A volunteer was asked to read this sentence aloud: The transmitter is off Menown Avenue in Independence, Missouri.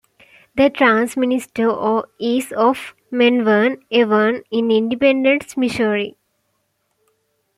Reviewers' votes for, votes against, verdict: 2, 1, accepted